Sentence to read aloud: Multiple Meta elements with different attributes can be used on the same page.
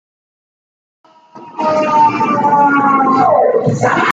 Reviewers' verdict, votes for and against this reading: rejected, 0, 2